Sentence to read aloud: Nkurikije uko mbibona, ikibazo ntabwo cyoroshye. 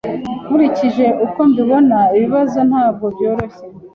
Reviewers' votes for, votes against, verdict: 2, 0, accepted